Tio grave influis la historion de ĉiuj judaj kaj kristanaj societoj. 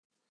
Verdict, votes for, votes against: rejected, 0, 2